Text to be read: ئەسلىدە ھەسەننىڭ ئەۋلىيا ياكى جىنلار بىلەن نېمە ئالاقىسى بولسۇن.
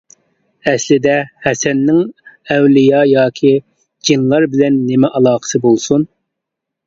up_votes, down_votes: 2, 0